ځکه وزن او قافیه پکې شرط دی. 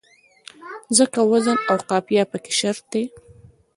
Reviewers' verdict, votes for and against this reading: accepted, 2, 0